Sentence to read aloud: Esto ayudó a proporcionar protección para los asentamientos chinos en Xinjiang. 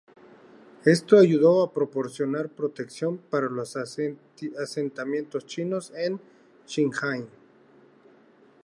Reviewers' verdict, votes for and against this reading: rejected, 0, 2